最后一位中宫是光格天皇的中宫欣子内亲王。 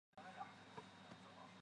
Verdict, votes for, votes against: rejected, 0, 4